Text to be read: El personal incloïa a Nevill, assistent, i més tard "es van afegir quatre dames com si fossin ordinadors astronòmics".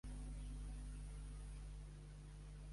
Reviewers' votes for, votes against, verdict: 0, 2, rejected